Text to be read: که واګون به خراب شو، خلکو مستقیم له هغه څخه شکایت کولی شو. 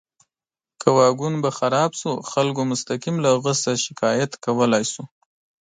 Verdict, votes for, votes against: accepted, 3, 0